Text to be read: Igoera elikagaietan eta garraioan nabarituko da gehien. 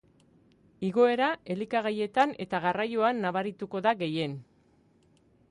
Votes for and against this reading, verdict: 2, 0, accepted